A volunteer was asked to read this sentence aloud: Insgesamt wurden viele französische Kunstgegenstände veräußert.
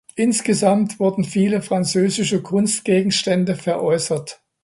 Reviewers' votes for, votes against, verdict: 2, 0, accepted